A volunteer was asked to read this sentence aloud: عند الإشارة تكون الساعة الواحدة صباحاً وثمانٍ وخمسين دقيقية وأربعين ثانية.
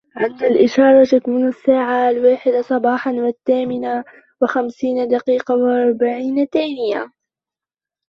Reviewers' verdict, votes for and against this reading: rejected, 0, 2